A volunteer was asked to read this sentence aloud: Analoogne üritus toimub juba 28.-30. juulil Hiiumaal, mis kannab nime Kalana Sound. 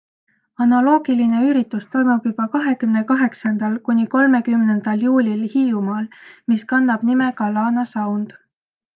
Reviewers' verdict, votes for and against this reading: rejected, 0, 2